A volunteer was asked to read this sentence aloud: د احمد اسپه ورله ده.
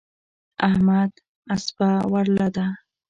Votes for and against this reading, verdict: 2, 0, accepted